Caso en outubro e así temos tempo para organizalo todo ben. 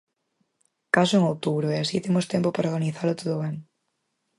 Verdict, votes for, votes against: accepted, 4, 0